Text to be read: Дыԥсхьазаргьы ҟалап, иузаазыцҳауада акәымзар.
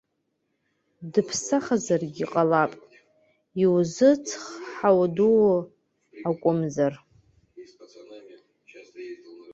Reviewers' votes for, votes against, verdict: 1, 2, rejected